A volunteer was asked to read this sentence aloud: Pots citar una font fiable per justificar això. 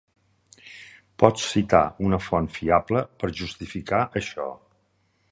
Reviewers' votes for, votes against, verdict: 3, 0, accepted